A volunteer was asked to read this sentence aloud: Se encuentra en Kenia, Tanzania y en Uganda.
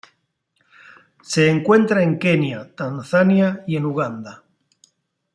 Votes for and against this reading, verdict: 2, 0, accepted